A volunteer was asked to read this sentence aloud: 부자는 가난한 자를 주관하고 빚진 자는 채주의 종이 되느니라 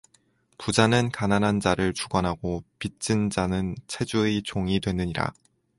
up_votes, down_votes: 2, 0